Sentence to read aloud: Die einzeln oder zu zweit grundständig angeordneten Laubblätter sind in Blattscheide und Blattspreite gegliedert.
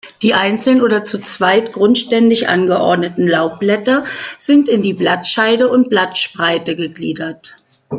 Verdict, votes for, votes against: rejected, 1, 2